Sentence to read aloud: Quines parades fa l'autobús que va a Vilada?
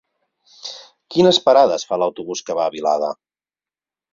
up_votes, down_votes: 4, 0